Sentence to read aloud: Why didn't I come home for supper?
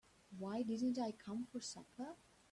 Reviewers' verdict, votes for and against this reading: rejected, 0, 2